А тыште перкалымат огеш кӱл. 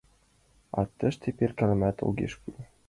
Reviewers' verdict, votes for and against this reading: accepted, 2, 1